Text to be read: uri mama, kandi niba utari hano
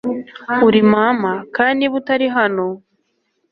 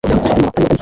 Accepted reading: first